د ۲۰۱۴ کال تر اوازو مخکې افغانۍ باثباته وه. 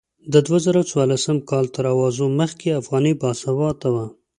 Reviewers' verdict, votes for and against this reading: rejected, 0, 2